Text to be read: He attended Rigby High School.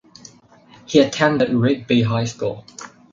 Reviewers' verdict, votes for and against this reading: rejected, 2, 2